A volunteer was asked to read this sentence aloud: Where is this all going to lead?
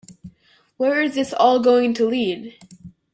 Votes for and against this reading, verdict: 2, 0, accepted